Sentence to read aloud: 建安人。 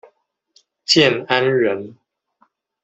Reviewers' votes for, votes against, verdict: 2, 0, accepted